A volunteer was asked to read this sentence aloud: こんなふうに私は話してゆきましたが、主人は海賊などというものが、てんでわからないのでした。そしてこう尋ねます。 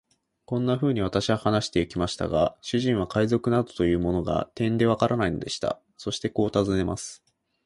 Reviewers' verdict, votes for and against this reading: accepted, 2, 0